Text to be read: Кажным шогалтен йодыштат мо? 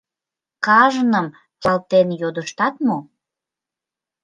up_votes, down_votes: 1, 2